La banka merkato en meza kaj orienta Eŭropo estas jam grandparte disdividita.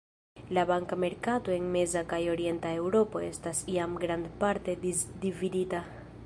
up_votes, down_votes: 1, 2